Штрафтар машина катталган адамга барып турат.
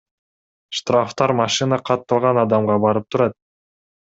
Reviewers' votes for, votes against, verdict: 2, 0, accepted